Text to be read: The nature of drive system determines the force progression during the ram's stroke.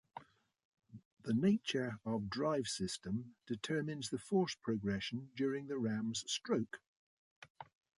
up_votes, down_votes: 2, 0